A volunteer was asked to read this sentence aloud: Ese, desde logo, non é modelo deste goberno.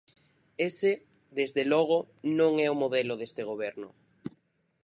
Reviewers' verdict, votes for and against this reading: rejected, 0, 4